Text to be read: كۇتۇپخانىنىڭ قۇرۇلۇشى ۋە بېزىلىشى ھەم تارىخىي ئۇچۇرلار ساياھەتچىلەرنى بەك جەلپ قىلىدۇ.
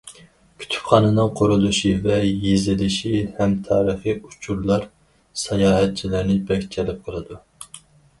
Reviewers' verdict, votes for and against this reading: rejected, 2, 2